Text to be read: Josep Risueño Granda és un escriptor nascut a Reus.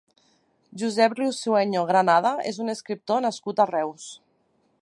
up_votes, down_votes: 2, 6